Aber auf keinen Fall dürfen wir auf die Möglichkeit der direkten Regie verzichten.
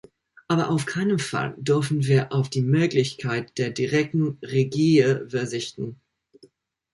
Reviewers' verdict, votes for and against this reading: rejected, 1, 2